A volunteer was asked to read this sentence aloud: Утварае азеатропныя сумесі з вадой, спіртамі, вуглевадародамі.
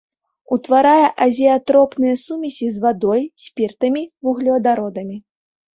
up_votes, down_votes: 2, 0